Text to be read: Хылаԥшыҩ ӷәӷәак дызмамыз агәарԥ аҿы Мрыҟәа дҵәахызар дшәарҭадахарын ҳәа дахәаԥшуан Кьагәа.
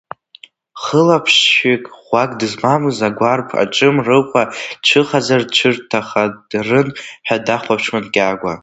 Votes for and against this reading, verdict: 0, 2, rejected